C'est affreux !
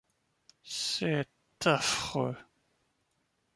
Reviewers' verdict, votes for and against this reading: accepted, 2, 1